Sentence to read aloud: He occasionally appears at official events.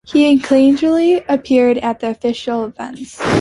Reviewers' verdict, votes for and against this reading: rejected, 1, 2